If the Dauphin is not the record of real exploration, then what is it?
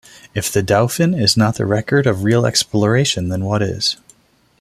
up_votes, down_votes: 2, 0